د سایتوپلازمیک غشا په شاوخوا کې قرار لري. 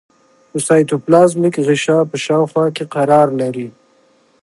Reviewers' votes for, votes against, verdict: 2, 0, accepted